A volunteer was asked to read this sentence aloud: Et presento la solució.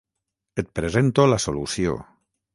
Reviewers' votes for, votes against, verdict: 6, 0, accepted